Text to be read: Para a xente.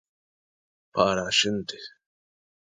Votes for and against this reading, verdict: 2, 0, accepted